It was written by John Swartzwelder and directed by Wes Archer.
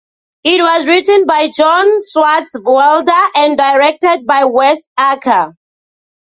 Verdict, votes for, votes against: rejected, 0, 2